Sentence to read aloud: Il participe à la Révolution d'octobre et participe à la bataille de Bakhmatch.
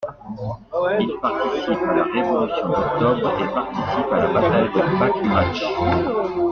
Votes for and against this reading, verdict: 2, 0, accepted